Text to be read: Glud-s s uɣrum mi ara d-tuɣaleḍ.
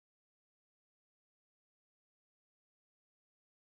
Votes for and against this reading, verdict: 0, 2, rejected